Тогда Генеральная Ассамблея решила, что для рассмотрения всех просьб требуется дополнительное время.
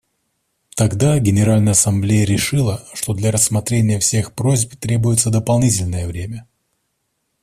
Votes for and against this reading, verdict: 2, 0, accepted